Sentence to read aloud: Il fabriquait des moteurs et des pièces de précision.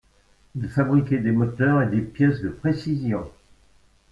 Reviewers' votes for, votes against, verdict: 2, 0, accepted